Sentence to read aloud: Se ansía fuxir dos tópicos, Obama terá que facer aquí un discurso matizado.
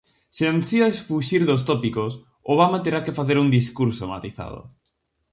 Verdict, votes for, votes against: rejected, 0, 4